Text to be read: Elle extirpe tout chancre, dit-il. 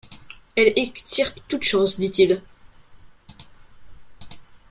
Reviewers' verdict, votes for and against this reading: rejected, 0, 2